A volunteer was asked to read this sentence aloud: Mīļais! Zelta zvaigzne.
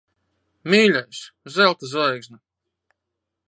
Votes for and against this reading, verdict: 2, 0, accepted